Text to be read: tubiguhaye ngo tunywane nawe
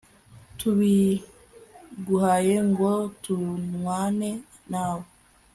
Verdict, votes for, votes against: rejected, 1, 2